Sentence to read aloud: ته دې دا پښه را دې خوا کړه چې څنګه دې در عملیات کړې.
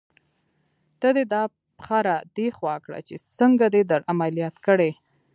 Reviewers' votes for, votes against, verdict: 0, 2, rejected